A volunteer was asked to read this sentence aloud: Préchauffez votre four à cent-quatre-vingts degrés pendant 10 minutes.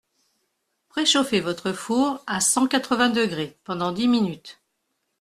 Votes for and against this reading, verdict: 0, 2, rejected